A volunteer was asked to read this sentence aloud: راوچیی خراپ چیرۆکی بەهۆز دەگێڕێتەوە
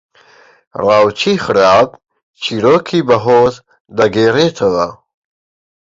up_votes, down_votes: 1, 2